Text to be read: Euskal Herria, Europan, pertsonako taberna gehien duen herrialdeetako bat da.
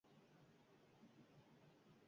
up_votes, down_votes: 0, 4